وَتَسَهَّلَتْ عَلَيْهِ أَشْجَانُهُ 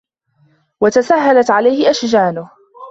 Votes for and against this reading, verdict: 2, 0, accepted